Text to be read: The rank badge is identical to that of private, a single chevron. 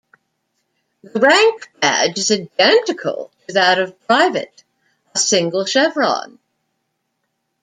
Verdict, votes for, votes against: rejected, 0, 2